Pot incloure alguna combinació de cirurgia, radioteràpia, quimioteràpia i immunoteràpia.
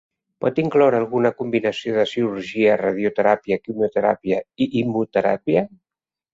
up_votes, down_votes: 1, 4